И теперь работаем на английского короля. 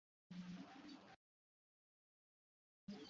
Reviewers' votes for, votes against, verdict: 0, 2, rejected